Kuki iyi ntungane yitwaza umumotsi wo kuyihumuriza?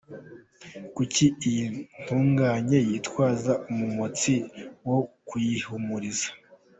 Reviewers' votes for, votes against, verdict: 2, 1, accepted